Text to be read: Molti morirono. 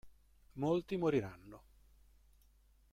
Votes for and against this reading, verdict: 0, 2, rejected